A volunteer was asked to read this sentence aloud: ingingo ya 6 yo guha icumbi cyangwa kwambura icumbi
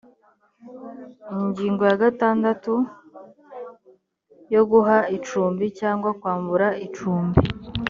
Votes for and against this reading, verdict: 0, 2, rejected